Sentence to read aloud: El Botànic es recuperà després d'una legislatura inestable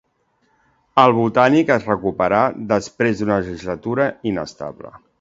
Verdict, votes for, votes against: accepted, 2, 1